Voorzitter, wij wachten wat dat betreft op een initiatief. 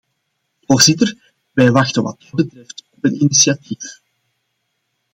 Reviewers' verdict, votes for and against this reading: rejected, 1, 2